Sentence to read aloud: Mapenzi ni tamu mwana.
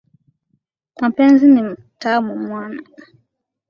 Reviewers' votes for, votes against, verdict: 2, 0, accepted